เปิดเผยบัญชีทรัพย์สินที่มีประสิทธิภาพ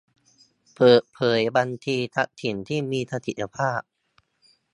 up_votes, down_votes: 1, 2